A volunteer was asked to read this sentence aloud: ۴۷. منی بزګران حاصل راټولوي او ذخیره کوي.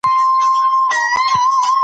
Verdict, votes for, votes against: rejected, 0, 2